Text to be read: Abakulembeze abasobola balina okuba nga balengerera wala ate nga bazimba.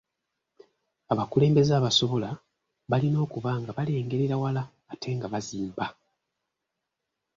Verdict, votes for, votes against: accepted, 2, 0